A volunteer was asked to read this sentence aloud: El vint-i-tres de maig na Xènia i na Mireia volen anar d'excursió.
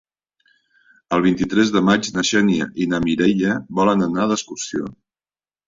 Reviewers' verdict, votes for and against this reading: accepted, 4, 0